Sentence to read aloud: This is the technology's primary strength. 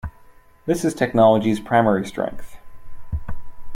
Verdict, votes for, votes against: accepted, 2, 0